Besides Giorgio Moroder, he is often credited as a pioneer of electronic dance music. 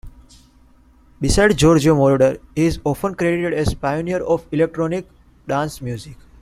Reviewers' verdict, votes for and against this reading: accepted, 2, 1